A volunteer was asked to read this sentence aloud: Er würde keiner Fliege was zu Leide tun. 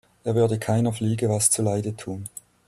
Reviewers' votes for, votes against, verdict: 2, 0, accepted